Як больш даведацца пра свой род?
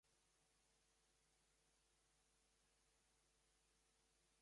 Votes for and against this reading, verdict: 0, 2, rejected